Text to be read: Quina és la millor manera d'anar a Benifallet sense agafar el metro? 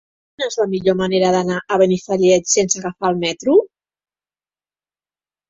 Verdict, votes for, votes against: rejected, 1, 2